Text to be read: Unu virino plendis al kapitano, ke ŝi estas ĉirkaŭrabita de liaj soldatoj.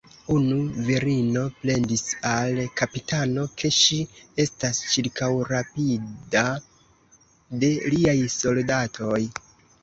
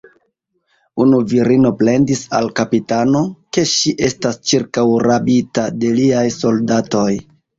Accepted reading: second